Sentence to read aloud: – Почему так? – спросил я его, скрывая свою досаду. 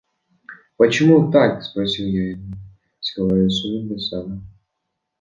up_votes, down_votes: 2, 0